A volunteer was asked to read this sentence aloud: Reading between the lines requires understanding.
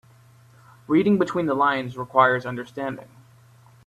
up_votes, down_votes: 2, 0